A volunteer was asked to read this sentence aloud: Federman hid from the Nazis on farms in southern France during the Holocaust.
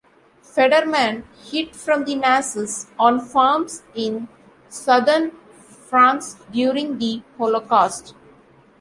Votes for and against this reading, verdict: 2, 1, accepted